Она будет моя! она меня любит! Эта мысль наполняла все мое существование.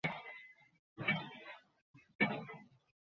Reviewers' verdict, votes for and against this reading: rejected, 0, 2